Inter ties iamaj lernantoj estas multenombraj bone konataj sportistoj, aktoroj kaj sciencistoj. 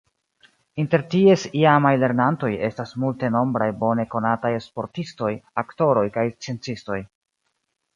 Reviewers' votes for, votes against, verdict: 2, 1, accepted